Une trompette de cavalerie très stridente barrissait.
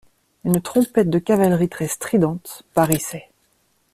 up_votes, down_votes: 2, 0